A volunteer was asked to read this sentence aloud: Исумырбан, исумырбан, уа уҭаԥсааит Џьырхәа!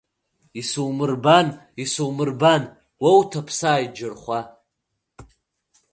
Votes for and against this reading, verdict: 1, 2, rejected